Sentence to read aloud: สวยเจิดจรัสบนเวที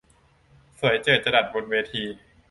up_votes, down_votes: 2, 0